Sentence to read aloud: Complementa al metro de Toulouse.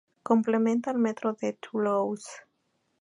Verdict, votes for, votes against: accepted, 4, 0